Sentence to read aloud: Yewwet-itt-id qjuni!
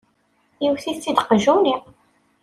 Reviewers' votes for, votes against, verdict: 2, 0, accepted